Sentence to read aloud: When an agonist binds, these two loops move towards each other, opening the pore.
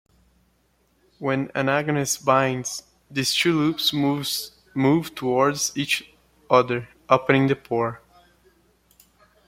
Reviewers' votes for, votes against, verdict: 0, 2, rejected